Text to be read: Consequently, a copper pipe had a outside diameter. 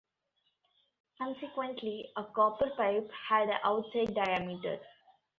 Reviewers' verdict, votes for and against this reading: accepted, 2, 0